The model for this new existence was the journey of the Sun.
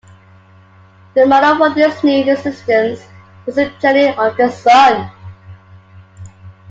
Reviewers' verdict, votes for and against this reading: rejected, 1, 3